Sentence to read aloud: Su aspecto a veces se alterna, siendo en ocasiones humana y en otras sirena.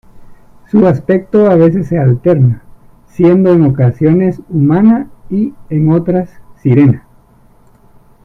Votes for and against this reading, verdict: 0, 2, rejected